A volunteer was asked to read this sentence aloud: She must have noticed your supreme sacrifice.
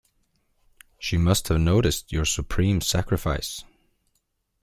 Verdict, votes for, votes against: accepted, 2, 0